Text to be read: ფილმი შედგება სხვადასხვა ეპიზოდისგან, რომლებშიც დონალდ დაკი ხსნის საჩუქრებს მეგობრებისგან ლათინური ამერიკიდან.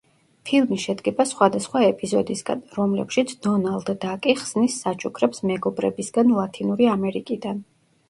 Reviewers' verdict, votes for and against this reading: rejected, 0, 2